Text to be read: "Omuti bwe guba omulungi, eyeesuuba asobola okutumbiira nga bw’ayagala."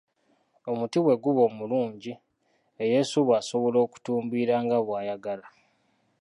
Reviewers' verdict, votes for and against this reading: accepted, 2, 0